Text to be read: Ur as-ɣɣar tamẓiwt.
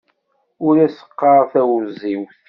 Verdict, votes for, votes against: rejected, 1, 2